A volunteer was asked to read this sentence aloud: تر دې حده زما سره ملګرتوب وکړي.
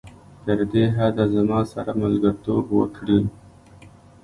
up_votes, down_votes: 2, 1